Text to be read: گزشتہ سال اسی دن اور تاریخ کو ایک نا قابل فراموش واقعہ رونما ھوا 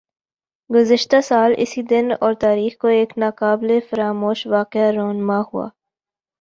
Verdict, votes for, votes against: accepted, 2, 1